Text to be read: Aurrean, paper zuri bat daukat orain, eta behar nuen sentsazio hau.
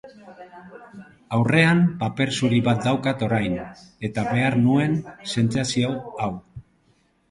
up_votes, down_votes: 7, 1